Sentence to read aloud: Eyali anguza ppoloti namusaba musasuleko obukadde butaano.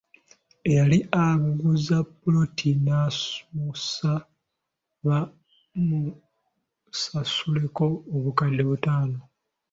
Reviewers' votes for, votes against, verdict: 1, 2, rejected